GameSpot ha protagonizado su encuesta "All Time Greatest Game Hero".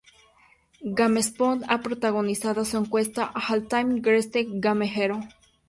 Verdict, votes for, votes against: accepted, 2, 0